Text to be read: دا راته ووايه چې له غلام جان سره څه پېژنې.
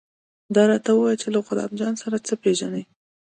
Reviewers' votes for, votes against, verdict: 2, 0, accepted